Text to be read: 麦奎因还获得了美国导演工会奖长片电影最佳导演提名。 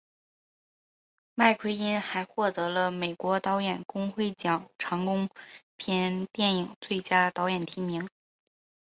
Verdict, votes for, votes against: rejected, 2, 4